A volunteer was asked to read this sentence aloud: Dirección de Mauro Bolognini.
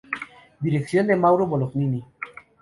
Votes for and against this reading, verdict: 0, 2, rejected